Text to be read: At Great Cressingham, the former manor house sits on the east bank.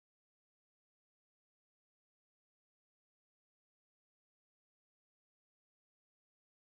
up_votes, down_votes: 0, 2